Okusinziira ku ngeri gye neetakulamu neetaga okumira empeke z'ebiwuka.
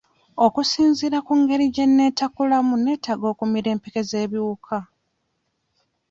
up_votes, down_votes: 2, 0